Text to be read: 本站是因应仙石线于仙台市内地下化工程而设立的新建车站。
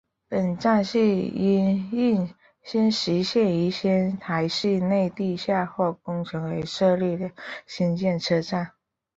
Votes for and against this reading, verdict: 1, 2, rejected